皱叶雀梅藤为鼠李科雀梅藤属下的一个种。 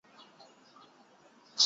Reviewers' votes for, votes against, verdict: 0, 3, rejected